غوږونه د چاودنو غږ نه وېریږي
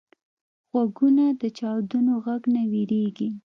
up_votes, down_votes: 2, 0